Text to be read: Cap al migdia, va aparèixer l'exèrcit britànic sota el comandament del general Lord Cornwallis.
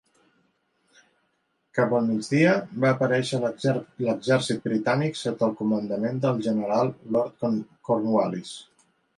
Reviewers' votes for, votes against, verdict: 0, 2, rejected